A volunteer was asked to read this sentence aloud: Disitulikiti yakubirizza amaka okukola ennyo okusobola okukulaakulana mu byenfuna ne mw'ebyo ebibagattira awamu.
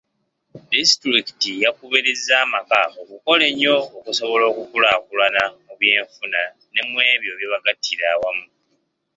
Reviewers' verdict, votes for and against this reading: accepted, 2, 0